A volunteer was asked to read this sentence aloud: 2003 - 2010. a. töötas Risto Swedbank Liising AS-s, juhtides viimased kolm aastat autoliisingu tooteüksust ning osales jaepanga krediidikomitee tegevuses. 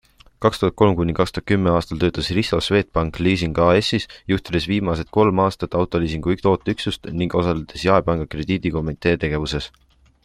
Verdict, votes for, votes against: rejected, 0, 2